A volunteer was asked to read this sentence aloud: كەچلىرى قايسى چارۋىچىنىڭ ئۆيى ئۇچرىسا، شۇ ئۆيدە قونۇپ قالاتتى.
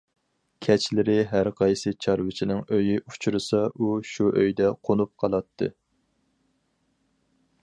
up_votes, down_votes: 0, 2